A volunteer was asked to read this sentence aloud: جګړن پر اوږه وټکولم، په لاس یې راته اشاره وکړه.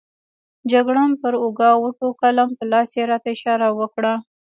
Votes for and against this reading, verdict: 2, 1, accepted